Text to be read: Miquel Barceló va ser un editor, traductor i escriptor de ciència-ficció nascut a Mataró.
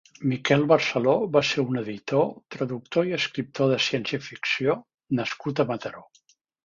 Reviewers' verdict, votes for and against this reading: accepted, 2, 0